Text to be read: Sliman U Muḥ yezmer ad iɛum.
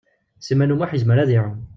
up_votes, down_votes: 2, 0